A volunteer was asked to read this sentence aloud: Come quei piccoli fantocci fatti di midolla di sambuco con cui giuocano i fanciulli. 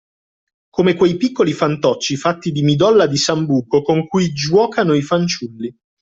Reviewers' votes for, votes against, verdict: 2, 0, accepted